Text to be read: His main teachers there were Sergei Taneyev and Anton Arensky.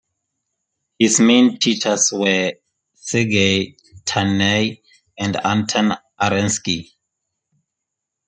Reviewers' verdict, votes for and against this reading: rejected, 0, 2